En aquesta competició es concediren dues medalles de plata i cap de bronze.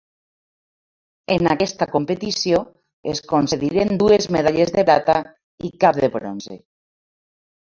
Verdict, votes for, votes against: rejected, 0, 2